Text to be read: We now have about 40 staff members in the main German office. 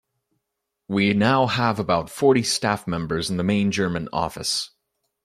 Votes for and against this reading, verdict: 0, 2, rejected